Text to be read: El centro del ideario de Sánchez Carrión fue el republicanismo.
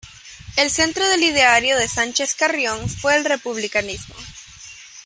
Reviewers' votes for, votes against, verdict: 2, 0, accepted